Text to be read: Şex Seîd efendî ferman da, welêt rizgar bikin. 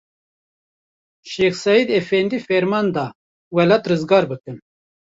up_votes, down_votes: 0, 2